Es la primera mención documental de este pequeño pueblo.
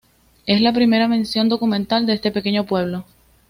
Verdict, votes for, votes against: accepted, 2, 1